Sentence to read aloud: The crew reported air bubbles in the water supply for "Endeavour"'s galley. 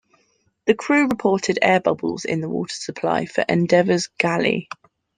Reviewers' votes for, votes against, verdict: 2, 0, accepted